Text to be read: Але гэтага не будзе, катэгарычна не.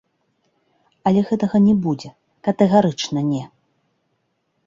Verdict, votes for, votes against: rejected, 1, 2